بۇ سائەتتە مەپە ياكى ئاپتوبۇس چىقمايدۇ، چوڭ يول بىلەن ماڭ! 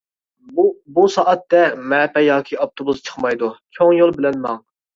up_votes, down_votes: 0, 2